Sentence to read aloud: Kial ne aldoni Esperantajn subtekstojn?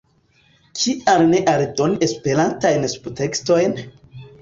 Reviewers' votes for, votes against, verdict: 1, 2, rejected